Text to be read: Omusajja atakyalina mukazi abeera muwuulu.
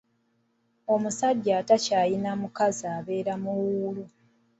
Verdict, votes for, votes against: accepted, 2, 0